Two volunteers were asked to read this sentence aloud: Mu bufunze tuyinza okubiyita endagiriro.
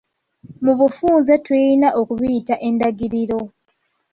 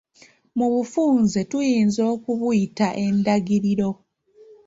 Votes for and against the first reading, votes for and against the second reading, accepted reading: 1, 2, 2, 0, second